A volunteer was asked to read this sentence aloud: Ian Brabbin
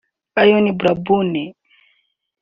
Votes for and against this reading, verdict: 0, 2, rejected